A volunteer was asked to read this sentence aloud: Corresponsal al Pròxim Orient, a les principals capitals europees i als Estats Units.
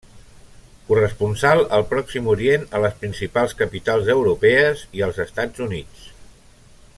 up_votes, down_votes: 1, 2